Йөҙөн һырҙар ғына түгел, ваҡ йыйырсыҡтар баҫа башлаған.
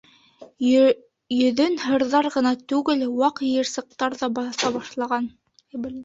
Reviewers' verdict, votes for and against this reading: rejected, 0, 2